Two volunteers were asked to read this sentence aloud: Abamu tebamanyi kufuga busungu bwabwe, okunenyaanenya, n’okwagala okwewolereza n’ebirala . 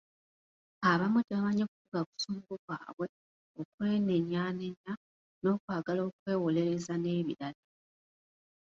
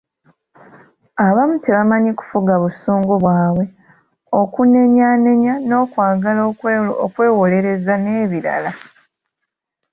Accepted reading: second